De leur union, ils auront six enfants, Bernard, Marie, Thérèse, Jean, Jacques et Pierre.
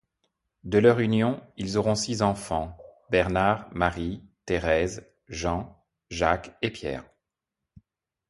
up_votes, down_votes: 2, 0